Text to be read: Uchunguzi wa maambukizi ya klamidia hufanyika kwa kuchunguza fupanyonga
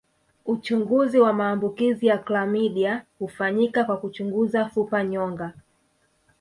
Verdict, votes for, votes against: rejected, 0, 2